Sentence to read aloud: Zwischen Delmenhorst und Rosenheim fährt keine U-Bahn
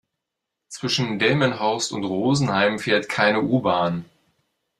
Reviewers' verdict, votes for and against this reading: accepted, 2, 0